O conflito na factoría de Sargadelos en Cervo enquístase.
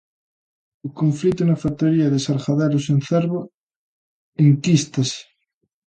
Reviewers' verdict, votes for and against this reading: accepted, 2, 0